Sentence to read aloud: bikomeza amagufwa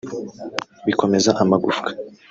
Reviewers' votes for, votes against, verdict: 0, 2, rejected